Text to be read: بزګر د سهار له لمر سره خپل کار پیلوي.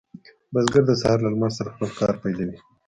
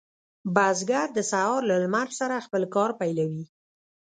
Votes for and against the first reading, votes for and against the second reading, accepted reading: 2, 1, 0, 2, first